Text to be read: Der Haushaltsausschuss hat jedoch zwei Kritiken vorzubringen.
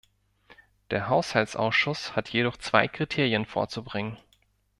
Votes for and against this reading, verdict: 1, 2, rejected